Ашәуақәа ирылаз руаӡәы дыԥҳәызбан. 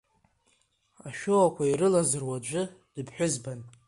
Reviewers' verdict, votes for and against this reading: rejected, 1, 2